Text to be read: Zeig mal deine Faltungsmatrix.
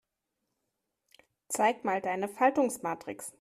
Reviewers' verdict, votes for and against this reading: accepted, 6, 0